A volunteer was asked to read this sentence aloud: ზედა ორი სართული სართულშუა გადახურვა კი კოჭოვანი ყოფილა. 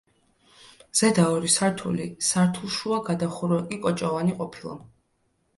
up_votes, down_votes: 2, 0